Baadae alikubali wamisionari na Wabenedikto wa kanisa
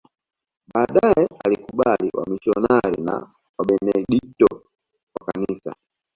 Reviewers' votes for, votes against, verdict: 1, 2, rejected